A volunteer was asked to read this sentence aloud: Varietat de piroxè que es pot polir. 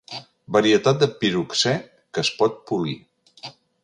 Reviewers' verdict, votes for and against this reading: accepted, 4, 0